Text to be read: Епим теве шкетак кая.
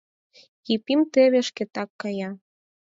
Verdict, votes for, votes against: accepted, 4, 0